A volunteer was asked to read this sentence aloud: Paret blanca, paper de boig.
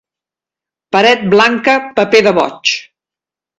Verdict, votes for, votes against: rejected, 1, 2